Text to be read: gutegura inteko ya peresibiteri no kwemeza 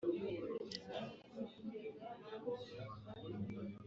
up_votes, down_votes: 1, 2